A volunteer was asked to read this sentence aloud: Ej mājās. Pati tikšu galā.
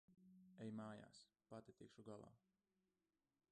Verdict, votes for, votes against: rejected, 0, 2